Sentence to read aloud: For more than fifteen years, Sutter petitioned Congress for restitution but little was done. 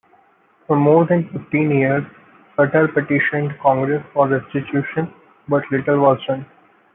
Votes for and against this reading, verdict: 2, 1, accepted